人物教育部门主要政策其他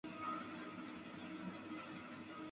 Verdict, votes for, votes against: rejected, 0, 2